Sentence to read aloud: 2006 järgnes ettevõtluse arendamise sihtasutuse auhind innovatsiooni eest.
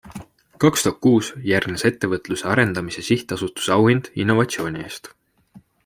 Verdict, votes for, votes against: rejected, 0, 2